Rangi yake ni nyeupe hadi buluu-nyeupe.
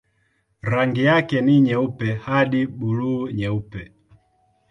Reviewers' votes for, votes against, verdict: 2, 0, accepted